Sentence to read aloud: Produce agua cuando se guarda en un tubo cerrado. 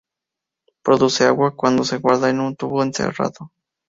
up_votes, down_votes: 0, 2